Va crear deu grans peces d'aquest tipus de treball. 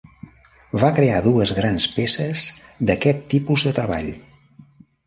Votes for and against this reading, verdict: 0, 2, rejected